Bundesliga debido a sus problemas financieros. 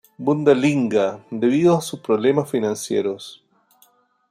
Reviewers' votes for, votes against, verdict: 0, 2, rejected